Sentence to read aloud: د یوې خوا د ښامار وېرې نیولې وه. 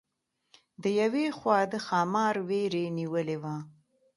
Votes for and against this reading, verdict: 2, 0, accepted